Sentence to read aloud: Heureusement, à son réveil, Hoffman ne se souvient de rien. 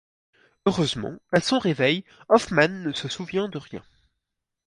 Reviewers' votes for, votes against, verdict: 4, 0, accepted